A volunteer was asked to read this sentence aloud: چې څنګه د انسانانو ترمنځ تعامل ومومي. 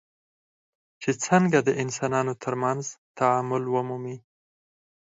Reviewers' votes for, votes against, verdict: 0, 4, rejected